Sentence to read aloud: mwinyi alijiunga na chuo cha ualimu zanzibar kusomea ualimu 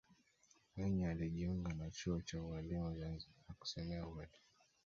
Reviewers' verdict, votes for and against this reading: rejected, 1, 2